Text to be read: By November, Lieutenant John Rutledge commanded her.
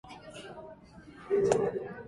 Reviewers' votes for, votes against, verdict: 0, 2, rejected